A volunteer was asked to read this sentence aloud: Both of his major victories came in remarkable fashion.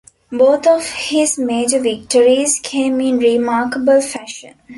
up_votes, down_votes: 2, 0